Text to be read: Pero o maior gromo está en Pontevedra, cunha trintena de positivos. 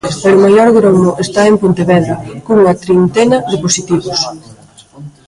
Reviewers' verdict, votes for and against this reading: rejected, 0, 2